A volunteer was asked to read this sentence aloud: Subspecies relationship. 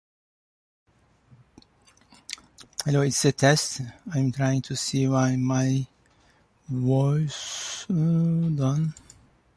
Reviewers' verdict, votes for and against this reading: rejected, 0, 2